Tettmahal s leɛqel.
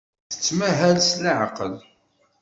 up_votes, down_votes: 2, 0